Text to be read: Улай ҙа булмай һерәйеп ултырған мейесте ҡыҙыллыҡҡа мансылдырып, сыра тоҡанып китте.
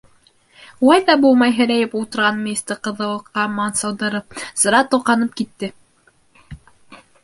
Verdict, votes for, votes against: accepted, 2, 0